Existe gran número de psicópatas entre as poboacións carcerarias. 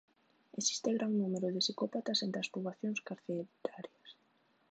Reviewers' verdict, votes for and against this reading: rejected, 0, 2